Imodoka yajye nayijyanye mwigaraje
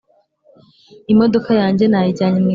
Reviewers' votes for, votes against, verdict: 2, 3, rejected